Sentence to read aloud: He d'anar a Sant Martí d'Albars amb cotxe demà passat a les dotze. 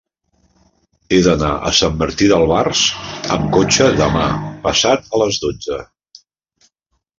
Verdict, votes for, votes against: rejected, 0, 2